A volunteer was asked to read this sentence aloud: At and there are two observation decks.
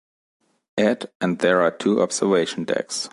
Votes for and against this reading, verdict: 2, 0, accepted